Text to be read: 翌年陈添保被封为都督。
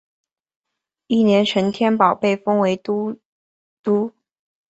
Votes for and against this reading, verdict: 2, 0, accepted